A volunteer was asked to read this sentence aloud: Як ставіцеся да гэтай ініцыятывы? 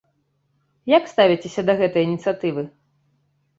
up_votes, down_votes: 2, 0